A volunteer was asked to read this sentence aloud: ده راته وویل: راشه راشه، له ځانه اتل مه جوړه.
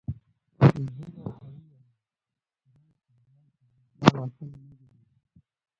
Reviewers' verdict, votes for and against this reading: rejected, 0, 2